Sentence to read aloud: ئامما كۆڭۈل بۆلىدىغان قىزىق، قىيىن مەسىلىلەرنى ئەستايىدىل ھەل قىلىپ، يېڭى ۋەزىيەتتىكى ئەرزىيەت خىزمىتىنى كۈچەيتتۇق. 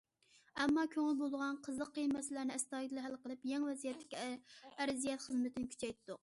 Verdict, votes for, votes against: rejected, 1, 2